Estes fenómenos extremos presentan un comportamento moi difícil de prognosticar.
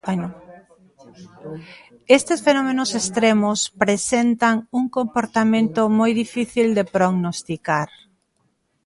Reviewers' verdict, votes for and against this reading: accepted, 2, 0